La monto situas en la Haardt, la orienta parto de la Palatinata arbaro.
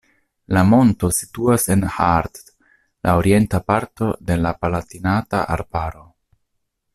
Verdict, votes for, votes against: rejected, 0, 2